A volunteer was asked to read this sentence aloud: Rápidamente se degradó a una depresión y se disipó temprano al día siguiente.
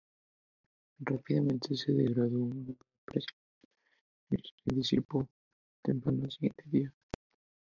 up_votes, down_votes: 0, 2